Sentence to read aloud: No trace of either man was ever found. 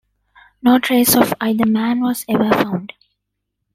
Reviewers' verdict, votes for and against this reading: accepted, 2, 0